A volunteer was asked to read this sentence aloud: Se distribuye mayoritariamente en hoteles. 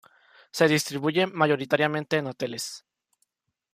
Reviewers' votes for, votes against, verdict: 2, 1, accepted